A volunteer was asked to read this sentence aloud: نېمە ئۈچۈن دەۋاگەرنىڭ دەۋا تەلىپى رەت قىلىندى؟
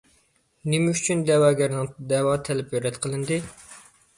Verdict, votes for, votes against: accepted, 2, 0